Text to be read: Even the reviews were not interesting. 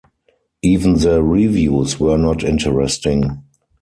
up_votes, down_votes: 4, 0